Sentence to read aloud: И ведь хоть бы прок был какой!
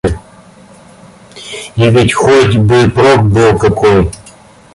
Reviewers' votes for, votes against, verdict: 1, 2, rejected